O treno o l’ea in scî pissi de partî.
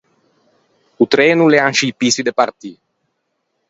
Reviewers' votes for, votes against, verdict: 4, 0, accepted